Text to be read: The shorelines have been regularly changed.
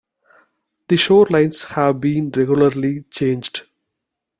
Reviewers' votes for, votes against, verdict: 2, 0, accepted